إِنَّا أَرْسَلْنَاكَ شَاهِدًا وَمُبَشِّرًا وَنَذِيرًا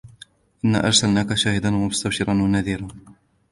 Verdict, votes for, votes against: accepted, 2, 1